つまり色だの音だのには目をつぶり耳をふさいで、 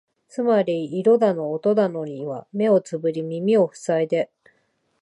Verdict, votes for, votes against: accepted, 2, 0